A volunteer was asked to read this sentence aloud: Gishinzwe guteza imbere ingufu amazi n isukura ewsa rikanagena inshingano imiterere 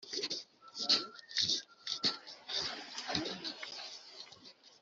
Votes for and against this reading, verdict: 0, 2, rejected